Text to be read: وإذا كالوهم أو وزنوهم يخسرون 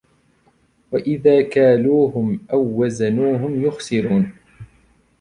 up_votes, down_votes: 2, 1